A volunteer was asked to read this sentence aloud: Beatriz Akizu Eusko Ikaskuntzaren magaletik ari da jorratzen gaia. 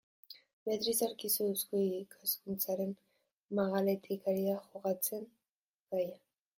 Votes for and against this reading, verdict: 0, 2, rejected